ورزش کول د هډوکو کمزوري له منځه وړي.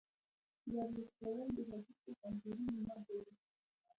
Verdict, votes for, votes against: rejected, 1, 2